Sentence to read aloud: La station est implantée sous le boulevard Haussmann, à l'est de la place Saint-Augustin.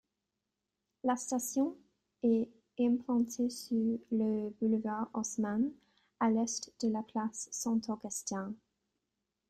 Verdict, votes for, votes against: rejected, 0, 2